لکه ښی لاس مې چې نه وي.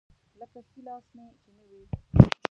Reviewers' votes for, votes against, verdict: 0, 2, rejected